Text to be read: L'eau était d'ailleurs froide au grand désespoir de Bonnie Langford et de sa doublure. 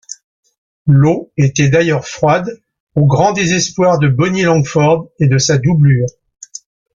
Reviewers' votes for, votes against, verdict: 2, 0, accepted